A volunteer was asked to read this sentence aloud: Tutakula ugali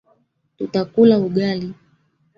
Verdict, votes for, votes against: rejected, 1, 2